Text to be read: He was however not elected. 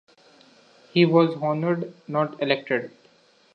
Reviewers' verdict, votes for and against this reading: rejected, 1, 2